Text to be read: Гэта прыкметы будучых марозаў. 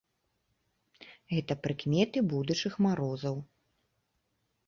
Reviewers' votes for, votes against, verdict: 2, 0, accepted